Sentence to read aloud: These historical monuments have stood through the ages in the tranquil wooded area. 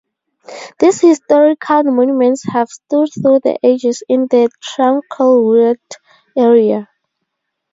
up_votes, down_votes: 0, 2